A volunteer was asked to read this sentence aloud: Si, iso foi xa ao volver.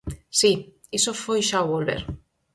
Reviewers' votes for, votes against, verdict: 4, 0, accepted